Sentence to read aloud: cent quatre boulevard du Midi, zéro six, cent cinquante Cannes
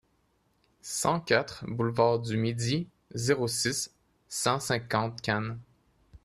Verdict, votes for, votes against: accepted, 2, 0